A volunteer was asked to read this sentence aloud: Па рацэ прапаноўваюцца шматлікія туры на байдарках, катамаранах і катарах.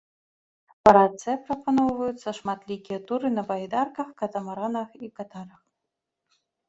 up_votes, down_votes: 0, 2